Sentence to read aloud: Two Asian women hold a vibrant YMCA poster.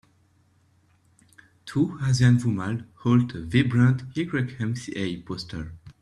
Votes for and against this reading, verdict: 1, 2, rejected